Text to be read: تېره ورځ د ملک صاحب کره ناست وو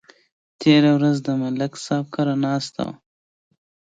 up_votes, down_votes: 2, 0